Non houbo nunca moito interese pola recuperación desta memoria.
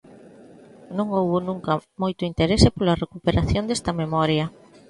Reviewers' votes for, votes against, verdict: 2, 0, accepted